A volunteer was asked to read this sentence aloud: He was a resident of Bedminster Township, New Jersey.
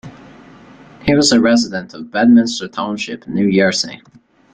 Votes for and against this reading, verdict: 1, 2, rejected